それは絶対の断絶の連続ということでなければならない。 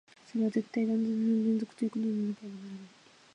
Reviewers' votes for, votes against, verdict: 1, 2, rejected